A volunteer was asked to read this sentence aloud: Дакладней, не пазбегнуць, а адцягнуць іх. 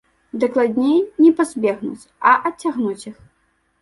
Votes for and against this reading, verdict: 1, 2, rejected